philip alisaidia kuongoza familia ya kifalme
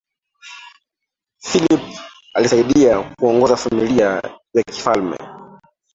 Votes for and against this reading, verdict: 2, 1, accepted